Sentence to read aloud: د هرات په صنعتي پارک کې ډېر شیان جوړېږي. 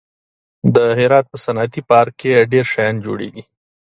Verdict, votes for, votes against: accepted, 2, 0